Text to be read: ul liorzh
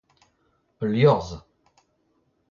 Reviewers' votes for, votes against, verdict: 2, 0, accepted